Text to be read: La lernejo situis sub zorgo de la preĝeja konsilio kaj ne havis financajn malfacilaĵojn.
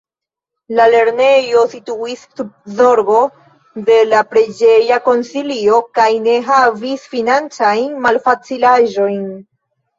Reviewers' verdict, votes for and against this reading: accepted, 2, 1